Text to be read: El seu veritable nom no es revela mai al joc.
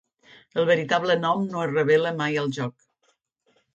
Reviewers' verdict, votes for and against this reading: rejected, 0, 3